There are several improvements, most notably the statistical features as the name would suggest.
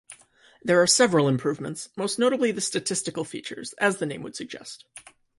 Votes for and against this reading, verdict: 2, 0, accepted